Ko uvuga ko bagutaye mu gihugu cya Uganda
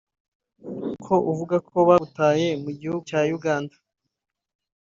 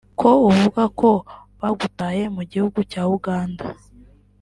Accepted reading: first